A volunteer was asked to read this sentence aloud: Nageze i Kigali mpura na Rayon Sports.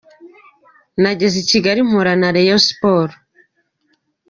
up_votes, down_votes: 4, 0